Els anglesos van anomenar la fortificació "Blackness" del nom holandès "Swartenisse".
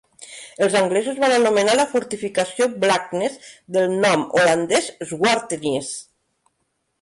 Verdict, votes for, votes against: rejected, 0, 2